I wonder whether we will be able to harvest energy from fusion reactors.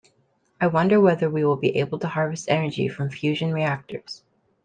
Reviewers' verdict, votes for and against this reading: accepted, 2, 0